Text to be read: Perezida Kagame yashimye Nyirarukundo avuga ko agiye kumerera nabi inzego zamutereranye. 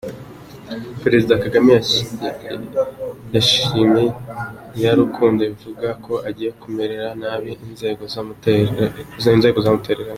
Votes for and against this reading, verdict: 0, 2, rejected